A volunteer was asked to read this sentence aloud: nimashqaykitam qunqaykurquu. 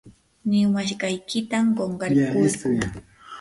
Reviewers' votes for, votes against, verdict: 0, 2, rejected